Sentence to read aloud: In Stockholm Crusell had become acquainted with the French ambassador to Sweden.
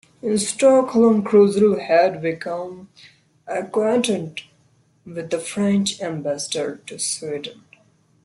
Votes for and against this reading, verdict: 1, 2, rejected